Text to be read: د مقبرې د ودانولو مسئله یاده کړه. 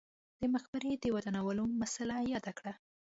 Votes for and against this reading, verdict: 2, 0, accepted